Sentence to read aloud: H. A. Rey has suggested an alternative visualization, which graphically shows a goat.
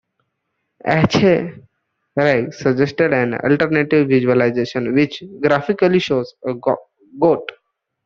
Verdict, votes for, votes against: rejected, 0, 2